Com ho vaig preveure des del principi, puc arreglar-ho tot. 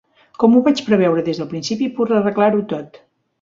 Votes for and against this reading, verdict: 2, 1, accepted